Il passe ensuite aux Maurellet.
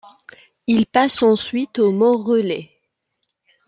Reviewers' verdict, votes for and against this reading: rejected, 1, 2